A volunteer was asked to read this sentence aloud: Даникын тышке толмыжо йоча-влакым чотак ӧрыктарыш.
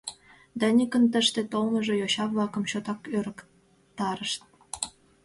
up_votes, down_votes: 1, 2